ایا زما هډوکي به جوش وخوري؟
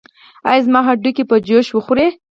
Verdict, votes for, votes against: accepted, 4, 0